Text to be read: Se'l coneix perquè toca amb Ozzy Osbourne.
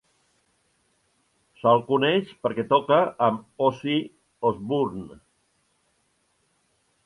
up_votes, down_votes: 1, 2